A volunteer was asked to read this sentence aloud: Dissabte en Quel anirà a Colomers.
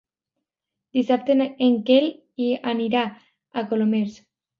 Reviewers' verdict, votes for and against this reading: rejected, 0, 2